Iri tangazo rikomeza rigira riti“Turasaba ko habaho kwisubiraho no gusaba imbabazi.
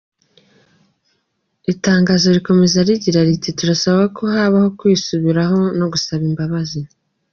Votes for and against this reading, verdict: 2, 1, accepted